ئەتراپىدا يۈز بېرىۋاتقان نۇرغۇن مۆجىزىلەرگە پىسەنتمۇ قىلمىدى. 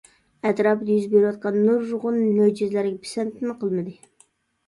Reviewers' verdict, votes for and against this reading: accepted, 2, 1